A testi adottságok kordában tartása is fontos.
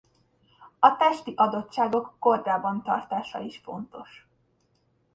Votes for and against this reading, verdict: 0, 2, rejected